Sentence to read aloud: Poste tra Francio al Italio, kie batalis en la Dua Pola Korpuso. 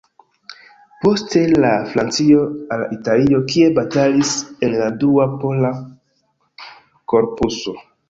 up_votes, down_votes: 1, 2